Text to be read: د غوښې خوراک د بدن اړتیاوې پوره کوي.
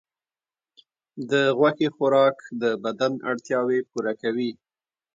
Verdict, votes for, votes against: accepted, 2, 0